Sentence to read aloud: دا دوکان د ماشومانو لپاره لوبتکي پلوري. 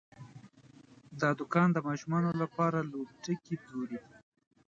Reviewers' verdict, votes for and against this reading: rejected, 0, 2